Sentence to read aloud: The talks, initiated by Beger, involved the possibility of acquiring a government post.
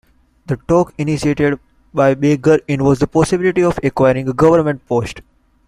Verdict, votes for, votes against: rejected, 0, 2